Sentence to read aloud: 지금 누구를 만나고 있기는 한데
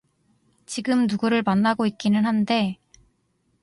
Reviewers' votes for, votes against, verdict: 2, 0, accepted